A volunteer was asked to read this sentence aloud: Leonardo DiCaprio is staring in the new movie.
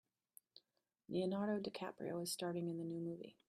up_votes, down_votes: 0, 2